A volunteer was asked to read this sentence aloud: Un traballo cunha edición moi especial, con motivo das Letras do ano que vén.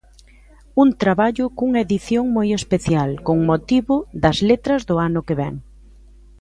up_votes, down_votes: 1, 2